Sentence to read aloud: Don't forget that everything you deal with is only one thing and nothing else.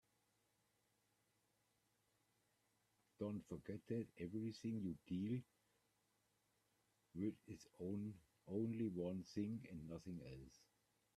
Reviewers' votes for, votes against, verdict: 0, 2, rejected